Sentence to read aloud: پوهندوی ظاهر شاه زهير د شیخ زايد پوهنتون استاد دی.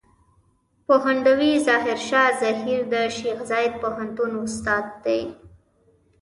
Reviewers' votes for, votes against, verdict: 0, 2, rejected